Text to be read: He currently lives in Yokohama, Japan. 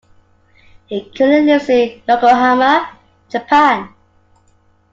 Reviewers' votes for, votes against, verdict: 3, 1, accepted